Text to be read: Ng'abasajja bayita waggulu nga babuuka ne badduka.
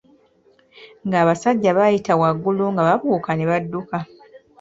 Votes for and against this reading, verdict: 1, 2, rejected